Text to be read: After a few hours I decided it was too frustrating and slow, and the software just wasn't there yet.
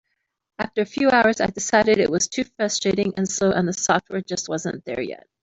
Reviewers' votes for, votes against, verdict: 1, 2, rejected